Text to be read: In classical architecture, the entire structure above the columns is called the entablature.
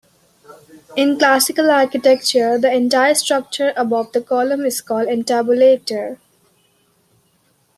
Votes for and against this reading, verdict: 0, 2, rejected